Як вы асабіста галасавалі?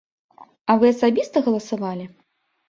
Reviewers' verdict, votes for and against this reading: rejected, 1, 2